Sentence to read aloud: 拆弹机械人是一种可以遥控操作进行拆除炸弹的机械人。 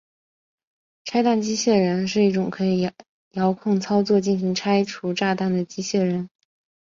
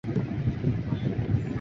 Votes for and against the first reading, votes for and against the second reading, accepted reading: 2, 0, 0, 2, first